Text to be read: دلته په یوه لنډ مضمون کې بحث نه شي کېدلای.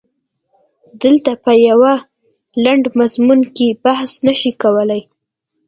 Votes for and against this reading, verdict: 1, 2, rejected